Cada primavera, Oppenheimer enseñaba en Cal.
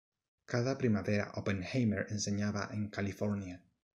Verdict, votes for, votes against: rejected, 1, 2